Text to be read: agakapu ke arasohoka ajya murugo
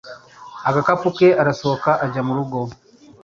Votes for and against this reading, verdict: 3, 0, accepted